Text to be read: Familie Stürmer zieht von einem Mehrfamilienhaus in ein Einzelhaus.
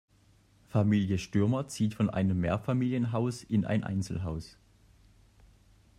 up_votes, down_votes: 2, 0